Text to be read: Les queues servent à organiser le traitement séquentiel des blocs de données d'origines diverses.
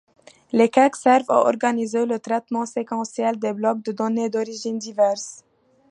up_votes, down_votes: 2, 0